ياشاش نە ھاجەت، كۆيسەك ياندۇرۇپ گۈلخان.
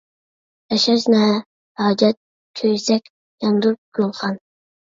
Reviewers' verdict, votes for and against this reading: rejected, 0, 2